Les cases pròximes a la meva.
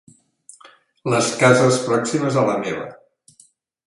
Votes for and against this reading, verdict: 3, 0, accepted